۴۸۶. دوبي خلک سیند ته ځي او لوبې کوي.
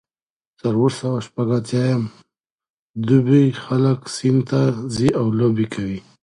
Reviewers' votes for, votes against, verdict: 0, 2, rejected